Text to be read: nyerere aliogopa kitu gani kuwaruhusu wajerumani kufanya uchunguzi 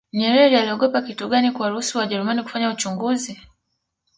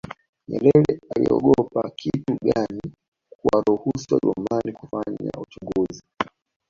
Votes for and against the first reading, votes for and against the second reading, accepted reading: 2, 0, 1, 2, first